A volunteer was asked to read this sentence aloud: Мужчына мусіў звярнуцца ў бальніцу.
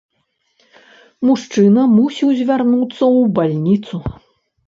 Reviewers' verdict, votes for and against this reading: accepted, 2, 0